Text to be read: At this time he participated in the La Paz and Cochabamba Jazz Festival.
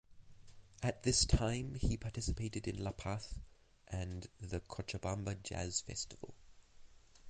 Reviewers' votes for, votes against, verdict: 0, 2, rejected